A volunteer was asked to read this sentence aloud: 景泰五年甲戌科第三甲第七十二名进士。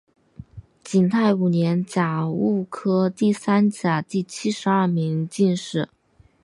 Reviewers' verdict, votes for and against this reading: accepted, 2, 0